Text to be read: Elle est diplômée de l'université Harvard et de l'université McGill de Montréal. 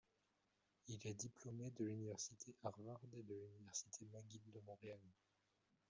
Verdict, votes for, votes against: rejected, 0, 2